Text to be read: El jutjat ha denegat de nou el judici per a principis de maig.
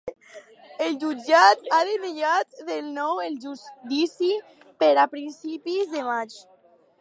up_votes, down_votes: 2, 2